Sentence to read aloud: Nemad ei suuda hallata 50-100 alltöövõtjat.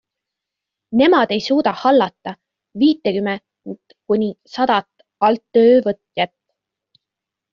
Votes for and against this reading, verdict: 0, 2, rejected